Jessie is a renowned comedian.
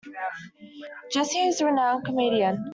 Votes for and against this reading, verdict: 2, 0, accepted